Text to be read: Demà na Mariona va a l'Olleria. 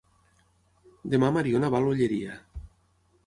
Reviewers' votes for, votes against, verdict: 0, 6, rejected